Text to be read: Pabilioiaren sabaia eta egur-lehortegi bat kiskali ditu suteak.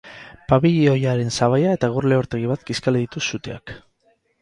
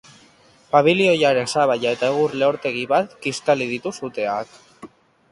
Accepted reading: first